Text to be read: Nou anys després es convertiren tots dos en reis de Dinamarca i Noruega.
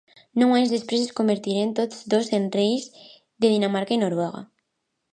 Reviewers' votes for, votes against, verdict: 2, 0, accepted